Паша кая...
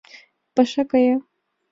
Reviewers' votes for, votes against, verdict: 2, 0, accepted